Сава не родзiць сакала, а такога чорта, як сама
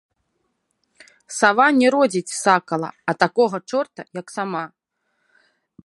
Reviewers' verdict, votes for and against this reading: rejected, 1, 2